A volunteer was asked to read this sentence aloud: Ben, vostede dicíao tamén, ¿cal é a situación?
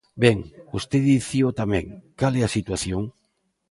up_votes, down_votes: 1, 2